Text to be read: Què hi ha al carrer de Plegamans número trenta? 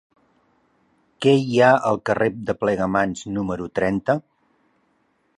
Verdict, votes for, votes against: accepted, 3, 0